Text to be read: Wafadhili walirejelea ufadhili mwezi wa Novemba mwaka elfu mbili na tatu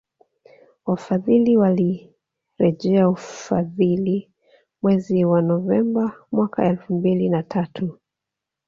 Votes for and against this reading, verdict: 2, 0, accepted